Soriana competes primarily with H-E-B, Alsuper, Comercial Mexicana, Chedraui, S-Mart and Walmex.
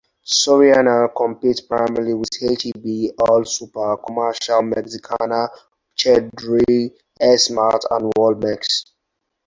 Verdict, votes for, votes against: rejected, 2, 2